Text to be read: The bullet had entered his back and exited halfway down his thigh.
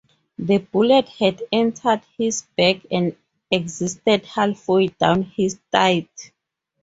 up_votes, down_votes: 0, 2